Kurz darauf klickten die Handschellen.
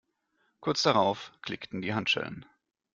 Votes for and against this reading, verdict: 2, 0, accepted